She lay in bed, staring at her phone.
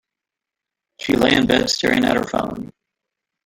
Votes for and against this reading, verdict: 1, 2, rejected